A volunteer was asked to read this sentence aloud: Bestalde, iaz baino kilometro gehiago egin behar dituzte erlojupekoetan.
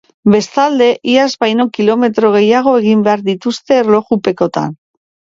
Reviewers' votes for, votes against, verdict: 0, 2, rejected